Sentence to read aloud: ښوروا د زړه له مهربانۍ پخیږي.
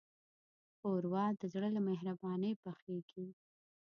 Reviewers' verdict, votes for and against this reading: rejected, 1, 2